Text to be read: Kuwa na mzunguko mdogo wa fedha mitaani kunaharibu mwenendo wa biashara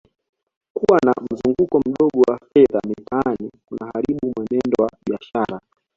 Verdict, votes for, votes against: accepted, 2, 0